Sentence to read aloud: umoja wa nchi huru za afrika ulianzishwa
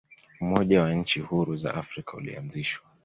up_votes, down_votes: 2, 0